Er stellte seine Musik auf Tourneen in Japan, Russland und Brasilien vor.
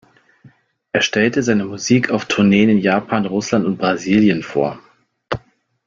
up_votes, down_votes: 2, 0